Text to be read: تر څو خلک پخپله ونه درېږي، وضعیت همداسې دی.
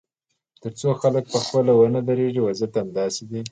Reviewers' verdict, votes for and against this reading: accepted, 2, 0